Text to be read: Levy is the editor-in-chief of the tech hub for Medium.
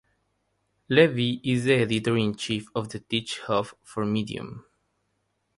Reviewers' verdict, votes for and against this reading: rejected, 0, 3